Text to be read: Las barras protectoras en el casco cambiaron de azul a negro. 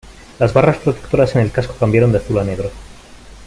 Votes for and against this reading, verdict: 2, 0, accepted